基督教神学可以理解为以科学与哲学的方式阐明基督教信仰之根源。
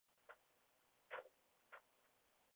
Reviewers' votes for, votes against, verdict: 2, 0, accepted